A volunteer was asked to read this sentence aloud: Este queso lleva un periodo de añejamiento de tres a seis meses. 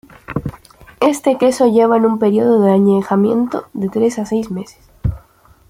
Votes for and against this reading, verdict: 1, 2, rejected